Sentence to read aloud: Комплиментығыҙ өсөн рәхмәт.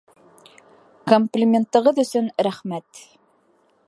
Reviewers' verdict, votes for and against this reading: accepted, 2, 0